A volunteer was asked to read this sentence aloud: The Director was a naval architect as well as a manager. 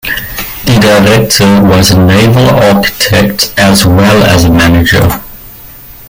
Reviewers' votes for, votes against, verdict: 2, 0, accepted